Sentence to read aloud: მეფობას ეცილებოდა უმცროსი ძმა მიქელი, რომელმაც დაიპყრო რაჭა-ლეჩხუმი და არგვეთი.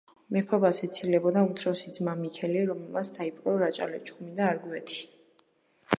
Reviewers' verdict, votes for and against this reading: accepted, 2, 0